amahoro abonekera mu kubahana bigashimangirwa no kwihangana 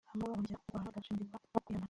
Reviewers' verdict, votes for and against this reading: rejected, 0, 2